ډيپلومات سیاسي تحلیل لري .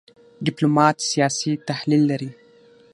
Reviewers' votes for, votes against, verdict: 6, 3, accepted